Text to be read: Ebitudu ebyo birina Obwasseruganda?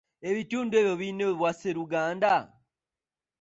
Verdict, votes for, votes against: accepted, 2, 1